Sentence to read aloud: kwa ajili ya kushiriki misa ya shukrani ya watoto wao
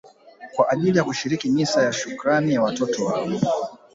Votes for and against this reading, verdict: 1, 2, rejected